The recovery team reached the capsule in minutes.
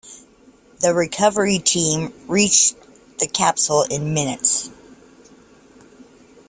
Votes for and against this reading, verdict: 2, 0, accepted